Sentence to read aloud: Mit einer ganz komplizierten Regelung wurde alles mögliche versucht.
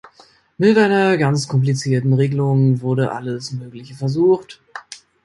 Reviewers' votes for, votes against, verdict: 2, 0, accepted